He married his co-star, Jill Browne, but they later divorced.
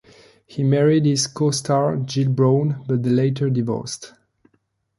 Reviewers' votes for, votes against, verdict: 2, 1, accepted